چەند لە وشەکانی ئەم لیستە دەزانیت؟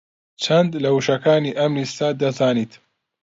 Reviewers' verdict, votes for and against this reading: accepted, 2, 0